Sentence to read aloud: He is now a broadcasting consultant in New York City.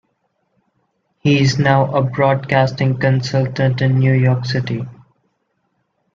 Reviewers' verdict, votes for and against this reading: accepted, 2, 0